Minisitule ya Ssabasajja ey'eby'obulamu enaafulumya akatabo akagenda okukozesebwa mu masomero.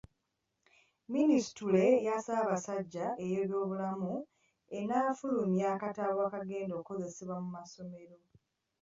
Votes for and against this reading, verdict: 2, 1, accepted